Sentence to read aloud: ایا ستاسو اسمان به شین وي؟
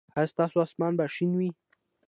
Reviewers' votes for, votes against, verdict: 2, 0, accepted